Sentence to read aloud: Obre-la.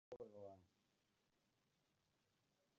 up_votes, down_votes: 0, 2